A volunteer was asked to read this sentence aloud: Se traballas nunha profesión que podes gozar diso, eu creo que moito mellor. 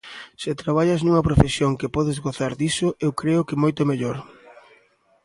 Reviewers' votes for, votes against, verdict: 2, 0, accepted